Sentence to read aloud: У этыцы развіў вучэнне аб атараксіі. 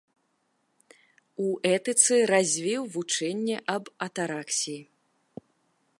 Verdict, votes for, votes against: accepted, 2, 0